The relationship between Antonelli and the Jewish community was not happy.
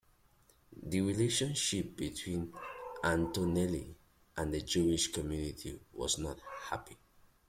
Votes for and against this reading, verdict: 2, 0, accepted